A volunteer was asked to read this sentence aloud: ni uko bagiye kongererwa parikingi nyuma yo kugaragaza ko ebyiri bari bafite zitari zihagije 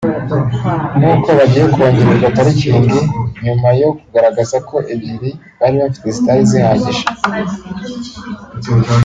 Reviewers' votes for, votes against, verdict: 4, 0, accepted